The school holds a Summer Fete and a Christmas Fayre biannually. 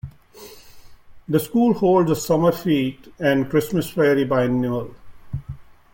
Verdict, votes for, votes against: rejected, 1, 2